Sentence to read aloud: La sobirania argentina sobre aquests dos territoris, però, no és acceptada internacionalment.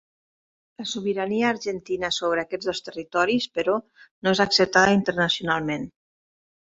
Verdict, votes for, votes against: accepted, 3, 0